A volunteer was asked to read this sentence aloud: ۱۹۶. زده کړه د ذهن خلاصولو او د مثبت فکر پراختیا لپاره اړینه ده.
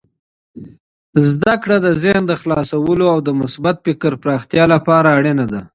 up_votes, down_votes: 0, 2